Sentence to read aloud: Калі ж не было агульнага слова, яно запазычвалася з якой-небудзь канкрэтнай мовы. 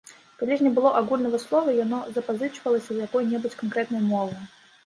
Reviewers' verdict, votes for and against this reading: rejected, 1, 2